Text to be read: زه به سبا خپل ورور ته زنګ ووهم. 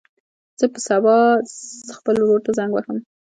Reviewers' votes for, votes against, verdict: 1, 2, rejected